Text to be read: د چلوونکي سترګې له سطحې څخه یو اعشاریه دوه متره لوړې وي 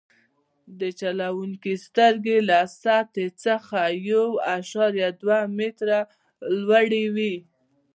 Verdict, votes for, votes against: rejected, 1, 2